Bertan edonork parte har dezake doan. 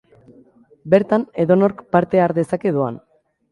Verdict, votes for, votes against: rejected, 1, 2